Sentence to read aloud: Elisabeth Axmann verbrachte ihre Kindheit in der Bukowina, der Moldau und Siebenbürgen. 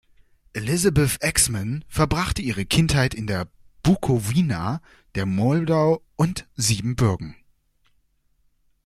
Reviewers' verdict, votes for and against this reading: accepted, 2, 0